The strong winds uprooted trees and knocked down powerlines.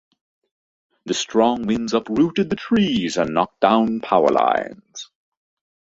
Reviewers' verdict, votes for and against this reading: accepted, 2, 0